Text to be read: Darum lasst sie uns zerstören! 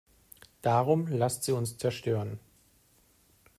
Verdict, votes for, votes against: accepted, 2, 0